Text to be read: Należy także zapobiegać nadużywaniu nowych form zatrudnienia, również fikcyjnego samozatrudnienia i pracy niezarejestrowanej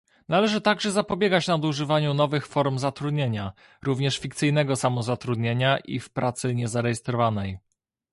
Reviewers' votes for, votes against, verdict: 0, 2, rejected